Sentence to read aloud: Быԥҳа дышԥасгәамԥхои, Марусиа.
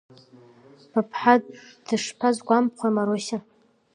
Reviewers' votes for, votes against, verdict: 0, 2, rejected